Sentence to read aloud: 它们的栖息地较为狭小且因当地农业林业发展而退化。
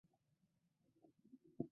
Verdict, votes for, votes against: rejected, 0, 2